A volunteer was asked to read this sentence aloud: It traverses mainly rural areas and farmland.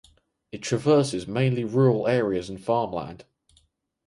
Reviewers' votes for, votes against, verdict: 2, 0, accepted